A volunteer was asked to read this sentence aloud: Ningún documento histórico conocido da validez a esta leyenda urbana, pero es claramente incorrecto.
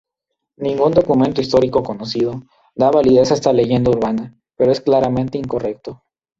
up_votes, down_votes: 0, 2